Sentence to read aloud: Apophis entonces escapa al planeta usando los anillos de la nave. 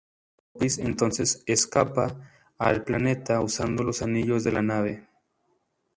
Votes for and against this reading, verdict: 0, 2, rejected